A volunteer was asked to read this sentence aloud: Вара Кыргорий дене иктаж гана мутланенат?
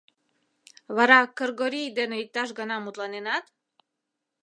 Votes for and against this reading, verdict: 2, 0, accepted